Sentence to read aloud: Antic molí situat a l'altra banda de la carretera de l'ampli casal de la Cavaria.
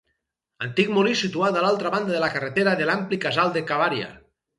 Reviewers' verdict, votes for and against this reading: rejected, 2, 4